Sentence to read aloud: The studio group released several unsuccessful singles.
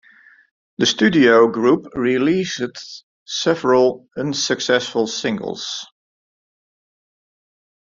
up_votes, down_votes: 0, 2